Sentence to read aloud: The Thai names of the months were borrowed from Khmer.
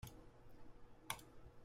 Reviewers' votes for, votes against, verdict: 0, 2, rejected